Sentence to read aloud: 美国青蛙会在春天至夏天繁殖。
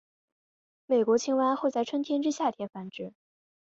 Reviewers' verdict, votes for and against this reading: accepted, 3, 0